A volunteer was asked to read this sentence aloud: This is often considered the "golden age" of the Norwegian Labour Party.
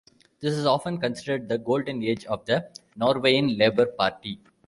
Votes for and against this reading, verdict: 1, 2, rejected